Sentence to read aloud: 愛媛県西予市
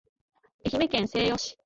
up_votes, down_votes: 2, 0